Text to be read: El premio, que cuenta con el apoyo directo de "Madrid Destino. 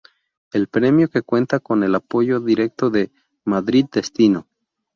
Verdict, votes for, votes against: accepted, 2, 0